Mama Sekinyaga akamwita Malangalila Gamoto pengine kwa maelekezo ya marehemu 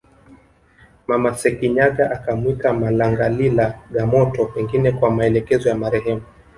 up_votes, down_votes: 1, 2